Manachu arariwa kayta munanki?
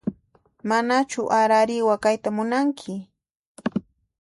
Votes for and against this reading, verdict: 2, 0, accepted